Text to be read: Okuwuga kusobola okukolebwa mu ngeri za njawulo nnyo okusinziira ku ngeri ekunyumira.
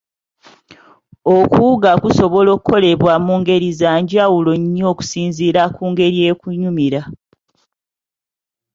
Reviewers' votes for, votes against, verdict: 2, 0, accepted